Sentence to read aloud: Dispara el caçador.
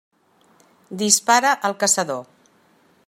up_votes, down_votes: 2, 0